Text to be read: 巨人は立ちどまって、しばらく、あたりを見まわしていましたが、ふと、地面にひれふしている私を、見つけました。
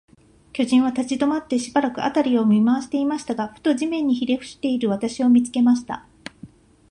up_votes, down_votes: 2, 0